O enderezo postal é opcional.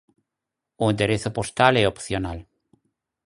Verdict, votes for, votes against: accepted, 4, 0